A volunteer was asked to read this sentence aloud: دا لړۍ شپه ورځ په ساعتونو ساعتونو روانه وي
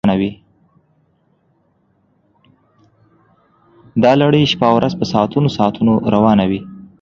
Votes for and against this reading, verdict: 2, 0, accepted